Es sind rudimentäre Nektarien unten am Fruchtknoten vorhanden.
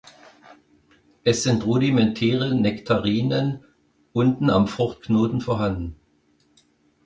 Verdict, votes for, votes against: rejected, 1, 2